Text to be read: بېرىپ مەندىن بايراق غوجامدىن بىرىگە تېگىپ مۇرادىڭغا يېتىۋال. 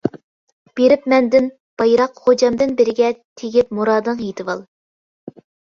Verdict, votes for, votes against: accepted, 2, 1